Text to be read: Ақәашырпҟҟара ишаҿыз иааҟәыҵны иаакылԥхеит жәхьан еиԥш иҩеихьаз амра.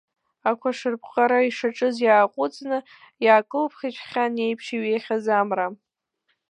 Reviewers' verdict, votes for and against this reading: accepted, 2, 0